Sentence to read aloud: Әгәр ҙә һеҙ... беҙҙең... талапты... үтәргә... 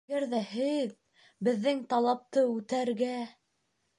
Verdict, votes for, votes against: accepted, 2, 0